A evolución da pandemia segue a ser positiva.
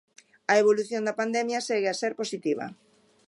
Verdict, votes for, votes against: accepted, 2, 0